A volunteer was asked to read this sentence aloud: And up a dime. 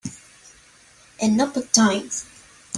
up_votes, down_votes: 2, 3